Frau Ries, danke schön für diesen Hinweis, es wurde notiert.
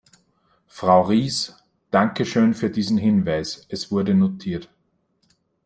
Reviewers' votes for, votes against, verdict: 1, 2, rejected